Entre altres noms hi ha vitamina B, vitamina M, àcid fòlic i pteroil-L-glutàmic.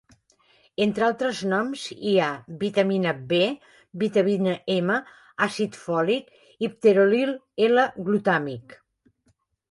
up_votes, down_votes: 0, 2